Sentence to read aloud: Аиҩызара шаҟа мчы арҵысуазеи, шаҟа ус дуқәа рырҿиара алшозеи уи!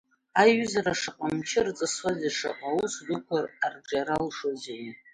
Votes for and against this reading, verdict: 1, 2, rejected